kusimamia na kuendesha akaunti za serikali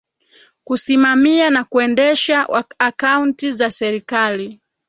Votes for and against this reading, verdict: 2, 1, accepted